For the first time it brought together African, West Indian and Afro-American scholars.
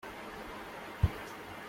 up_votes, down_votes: 0, 2